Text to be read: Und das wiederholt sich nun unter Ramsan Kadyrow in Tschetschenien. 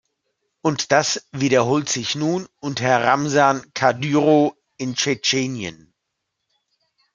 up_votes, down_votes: 2, 0